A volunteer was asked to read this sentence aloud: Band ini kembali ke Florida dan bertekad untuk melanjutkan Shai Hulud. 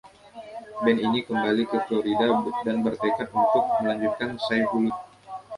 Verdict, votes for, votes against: rejected, 1, 2